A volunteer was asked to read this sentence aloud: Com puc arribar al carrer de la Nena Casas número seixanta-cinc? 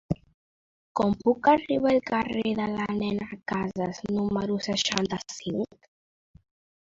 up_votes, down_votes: 2, 1